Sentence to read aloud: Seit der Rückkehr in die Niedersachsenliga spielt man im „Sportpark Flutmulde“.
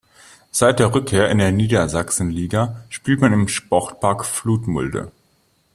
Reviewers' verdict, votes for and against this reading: rejected, 1, 2